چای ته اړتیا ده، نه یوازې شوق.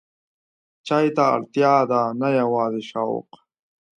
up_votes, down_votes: 2, 0